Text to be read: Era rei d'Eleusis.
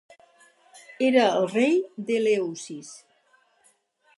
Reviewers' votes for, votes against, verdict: 4, 6, rejected